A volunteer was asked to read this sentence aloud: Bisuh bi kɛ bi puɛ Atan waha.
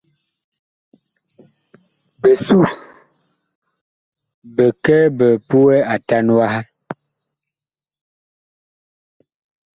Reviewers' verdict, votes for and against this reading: accepted, 2, 0